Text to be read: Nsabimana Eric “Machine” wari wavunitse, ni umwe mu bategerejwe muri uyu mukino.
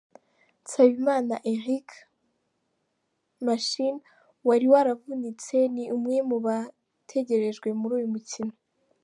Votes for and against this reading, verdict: 2, 0, accepted